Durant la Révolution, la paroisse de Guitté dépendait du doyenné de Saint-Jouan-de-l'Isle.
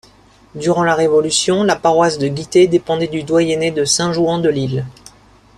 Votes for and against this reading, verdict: 2, 0, accepted